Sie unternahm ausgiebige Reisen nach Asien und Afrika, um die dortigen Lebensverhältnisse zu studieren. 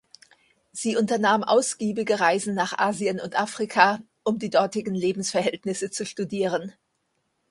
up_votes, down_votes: 2, 0